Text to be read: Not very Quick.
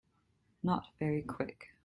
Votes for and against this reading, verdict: 2, 0, accepted